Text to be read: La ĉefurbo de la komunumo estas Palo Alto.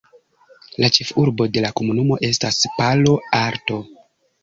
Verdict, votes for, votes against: accepted, 2, 1